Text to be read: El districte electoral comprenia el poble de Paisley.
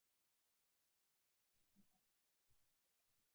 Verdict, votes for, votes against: rejected, 1, 2